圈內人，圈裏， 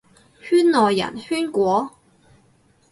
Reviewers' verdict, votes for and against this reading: rejected, 0, 4